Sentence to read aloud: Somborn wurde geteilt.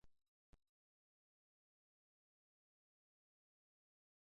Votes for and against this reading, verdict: 0, 2, rejected